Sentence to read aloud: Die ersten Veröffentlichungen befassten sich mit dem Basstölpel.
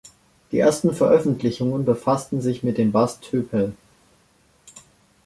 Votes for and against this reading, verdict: 1, 2, rejected